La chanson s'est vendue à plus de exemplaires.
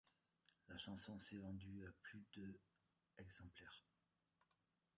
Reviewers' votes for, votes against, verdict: 1, 2, rejected